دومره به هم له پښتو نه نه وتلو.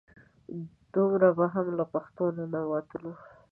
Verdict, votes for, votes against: accepted, 2, 1